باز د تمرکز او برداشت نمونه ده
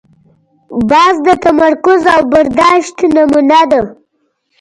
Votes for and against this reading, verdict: 1, 2, rejected